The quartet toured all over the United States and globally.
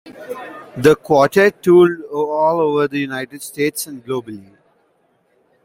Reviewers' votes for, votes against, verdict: 1, 2, rejected